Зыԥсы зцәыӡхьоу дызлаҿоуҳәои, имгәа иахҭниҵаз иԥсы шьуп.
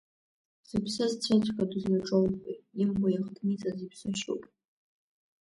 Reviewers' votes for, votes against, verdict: 0, 2, rejected